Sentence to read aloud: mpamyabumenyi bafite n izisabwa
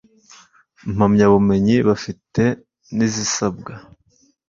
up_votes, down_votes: 2, 0